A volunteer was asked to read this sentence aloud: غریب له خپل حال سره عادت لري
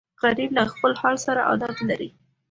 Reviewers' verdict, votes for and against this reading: accepted, 2, 0